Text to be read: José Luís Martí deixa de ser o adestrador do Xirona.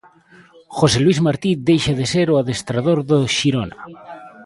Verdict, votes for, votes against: accepted, 2, 0